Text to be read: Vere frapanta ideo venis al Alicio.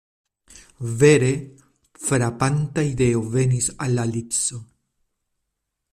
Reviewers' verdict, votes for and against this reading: rejected, 0, 2